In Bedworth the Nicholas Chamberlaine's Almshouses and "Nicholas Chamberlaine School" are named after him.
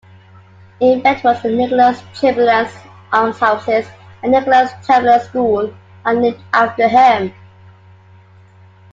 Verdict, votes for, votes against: accepted, 2, 1